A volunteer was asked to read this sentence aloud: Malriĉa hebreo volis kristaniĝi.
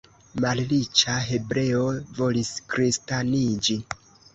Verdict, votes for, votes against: accepted, 2, 0